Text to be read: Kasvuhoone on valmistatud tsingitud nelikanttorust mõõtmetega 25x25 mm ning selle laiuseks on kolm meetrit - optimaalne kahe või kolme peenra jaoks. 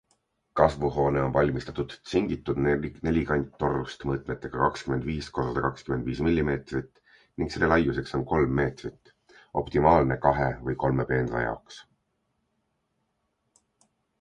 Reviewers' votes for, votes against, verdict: 0, 2, rejected